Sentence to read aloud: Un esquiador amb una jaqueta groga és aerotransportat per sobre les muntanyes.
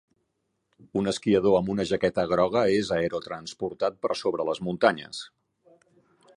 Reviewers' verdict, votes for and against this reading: accepted, 4, 0